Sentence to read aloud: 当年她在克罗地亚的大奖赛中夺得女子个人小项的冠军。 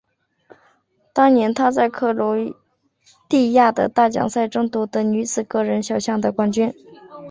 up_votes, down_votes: 4, 1